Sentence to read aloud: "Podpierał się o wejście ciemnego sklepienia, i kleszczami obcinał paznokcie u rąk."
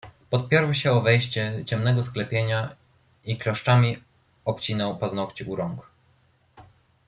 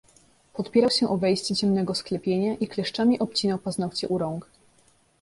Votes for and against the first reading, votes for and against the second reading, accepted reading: 1, 2, 2, 0, second